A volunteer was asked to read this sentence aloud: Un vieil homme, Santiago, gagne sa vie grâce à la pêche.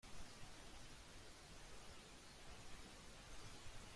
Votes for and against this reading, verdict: 0, 2, rejected